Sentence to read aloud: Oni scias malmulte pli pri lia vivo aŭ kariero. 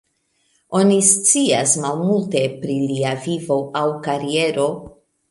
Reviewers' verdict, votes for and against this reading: rejected, 0, 2